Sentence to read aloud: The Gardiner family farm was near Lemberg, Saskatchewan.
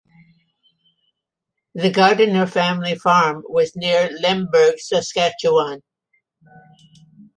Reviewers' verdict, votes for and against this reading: accepted, 2, 0